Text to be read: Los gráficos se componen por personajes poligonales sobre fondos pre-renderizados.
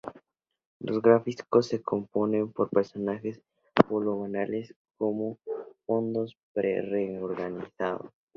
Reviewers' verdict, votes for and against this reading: rejected, 0, 2